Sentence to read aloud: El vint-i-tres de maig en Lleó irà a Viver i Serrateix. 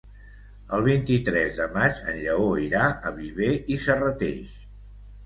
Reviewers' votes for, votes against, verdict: 2, 0, accepted